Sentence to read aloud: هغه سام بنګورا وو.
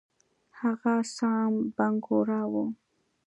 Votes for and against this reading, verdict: 2, 0, accepted